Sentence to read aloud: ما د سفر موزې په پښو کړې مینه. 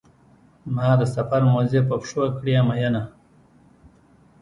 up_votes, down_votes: 1, 2